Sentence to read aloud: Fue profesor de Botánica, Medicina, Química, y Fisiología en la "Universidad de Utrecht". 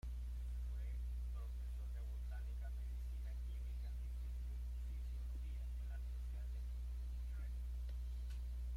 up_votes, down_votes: 0, 2